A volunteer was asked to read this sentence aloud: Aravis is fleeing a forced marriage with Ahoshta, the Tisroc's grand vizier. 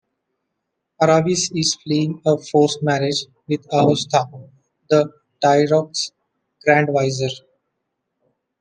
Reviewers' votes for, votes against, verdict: 1, 2, rejected